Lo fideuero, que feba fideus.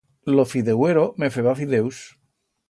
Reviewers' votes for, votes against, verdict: 2, 0, accepted